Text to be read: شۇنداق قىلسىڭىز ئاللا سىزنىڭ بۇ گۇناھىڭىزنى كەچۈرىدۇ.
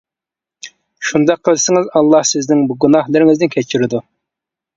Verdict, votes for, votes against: rejected, 1, 2